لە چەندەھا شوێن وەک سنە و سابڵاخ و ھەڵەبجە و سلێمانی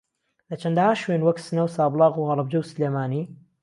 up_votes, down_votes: 2, 0